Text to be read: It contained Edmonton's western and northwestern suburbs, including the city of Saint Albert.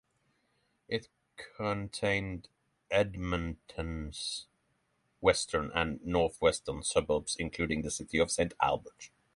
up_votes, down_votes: 9, 0